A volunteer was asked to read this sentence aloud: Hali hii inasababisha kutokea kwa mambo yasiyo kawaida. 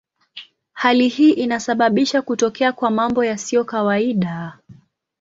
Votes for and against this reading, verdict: 2, 0, accepted